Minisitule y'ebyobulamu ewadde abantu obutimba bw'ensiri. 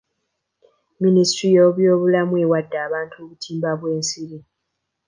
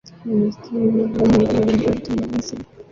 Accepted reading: first